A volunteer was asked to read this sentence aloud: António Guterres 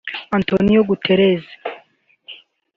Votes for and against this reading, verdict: 1, 2, rejected